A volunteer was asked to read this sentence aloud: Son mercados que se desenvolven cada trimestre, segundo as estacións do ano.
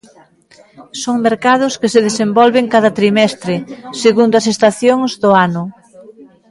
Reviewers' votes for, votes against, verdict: 1, 2, rejected